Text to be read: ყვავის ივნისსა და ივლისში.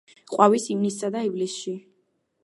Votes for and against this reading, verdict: 2, 0, accepted